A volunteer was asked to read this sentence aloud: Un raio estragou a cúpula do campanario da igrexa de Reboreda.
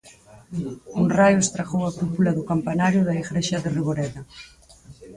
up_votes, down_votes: 0, 4